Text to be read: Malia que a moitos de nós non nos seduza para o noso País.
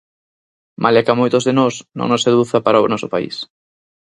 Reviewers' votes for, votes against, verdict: 4, 0, accepted